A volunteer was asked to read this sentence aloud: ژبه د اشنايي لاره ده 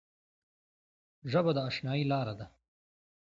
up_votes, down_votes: 2, 0